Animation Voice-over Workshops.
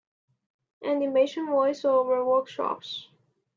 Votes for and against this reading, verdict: 2, 1, accepted